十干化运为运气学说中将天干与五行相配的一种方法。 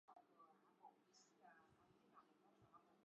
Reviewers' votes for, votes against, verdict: 0, 3, rejected